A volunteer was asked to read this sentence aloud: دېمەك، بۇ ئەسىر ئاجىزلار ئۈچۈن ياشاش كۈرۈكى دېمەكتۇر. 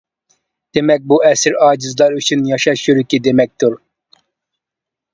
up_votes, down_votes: 0, 2